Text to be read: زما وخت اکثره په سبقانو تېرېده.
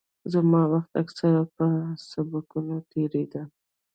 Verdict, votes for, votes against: rejected, 1, 2